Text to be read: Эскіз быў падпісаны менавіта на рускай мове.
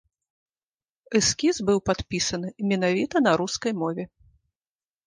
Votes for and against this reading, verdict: 2, 0, accepted